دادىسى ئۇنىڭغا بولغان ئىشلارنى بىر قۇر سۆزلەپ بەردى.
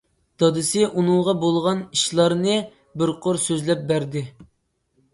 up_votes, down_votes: 2, 0